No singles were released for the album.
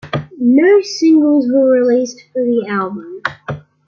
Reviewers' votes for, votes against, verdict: 2, 1, accepted